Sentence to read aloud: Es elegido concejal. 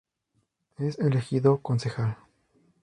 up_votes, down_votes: 2, 0